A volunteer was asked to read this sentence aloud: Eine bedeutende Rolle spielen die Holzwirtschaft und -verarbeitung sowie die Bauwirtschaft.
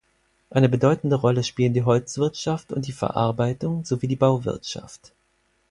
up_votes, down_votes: 2, 4